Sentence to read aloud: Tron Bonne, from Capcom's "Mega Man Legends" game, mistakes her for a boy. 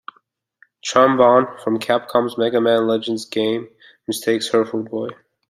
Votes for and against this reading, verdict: 2, 1, accepted